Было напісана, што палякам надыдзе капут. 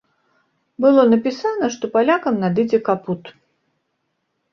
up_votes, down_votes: 2, 0